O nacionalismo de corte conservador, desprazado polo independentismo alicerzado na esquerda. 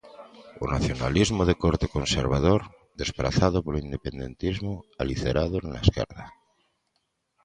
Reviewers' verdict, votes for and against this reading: rejected, 0, 2